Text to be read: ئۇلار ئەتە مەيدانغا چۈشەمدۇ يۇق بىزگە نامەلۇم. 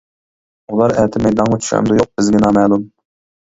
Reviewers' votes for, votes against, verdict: 2, 0, accepted